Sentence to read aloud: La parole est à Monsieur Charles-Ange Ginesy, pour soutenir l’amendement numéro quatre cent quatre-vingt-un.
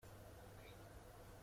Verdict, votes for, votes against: rejected, 0, 2